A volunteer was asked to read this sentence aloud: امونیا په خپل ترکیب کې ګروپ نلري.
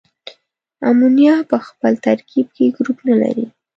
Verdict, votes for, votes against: accepted, 2, 0